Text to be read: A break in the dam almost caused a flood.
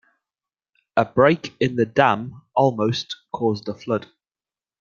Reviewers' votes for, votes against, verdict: 2, 0, accepted